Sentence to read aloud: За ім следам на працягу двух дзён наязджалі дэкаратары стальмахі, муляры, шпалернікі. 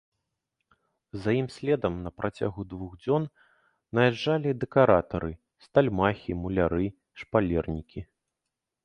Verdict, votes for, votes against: rejected, 1, 2